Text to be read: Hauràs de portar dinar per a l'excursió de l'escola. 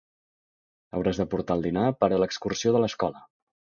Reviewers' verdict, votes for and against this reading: rejected, 1, 2